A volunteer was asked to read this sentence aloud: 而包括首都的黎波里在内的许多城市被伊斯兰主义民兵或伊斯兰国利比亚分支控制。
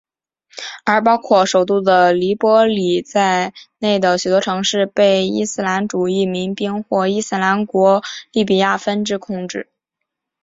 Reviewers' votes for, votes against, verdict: 1, 2, rejected